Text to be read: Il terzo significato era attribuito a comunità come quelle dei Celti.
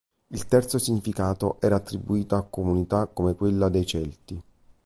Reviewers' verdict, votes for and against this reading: rejected, 0, 2